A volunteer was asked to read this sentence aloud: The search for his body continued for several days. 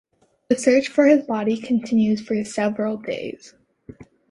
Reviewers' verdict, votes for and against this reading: accepted, 2, 0